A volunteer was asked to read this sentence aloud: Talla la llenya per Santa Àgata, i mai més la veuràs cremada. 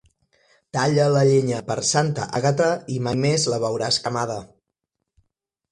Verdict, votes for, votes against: rejected, 1, 2